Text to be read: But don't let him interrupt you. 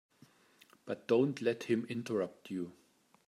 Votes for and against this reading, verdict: 2, 0, accepted